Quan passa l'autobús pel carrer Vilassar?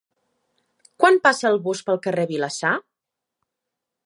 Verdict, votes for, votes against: rejected, 0, 3